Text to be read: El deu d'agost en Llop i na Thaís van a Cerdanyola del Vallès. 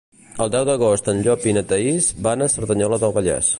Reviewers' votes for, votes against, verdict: 2, 0, accepted